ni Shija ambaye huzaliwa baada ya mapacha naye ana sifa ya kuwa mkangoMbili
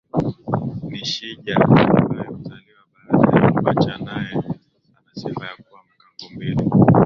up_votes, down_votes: 0, 2